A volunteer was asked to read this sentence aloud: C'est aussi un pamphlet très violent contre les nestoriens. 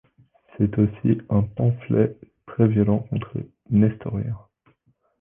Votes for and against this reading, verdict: 2, 0, accepted